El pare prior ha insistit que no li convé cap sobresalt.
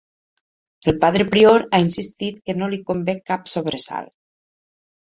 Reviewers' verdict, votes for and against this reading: rejected, 0, 4